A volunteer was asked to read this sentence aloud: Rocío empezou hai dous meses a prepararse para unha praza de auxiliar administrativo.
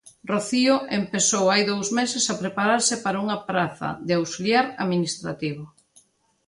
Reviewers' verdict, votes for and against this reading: accepted, 2, 0